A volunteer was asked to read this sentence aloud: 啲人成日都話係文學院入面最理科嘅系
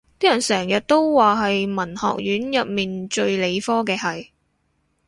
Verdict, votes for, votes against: accepted, 2, 0